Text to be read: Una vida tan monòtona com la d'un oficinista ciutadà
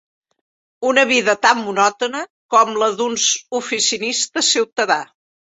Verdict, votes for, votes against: rejected, 0, 2